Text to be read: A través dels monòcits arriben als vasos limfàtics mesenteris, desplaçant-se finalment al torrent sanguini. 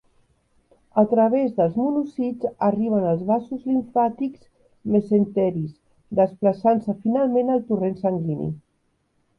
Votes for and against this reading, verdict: 1, 2, rejected